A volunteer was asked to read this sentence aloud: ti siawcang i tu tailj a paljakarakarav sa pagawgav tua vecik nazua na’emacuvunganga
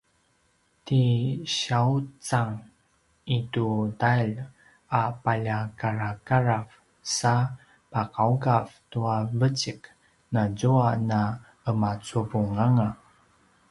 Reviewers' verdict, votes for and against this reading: accepted, 2, 0